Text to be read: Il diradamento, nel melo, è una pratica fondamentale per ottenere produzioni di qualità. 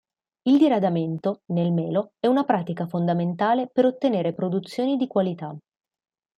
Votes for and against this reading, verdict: 2, 0, accepted